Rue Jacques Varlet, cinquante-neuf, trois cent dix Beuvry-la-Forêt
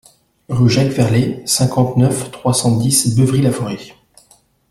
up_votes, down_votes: 2, 1